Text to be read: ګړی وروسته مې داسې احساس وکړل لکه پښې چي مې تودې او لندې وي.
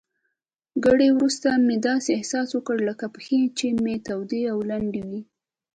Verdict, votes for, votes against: accepted, 2, 1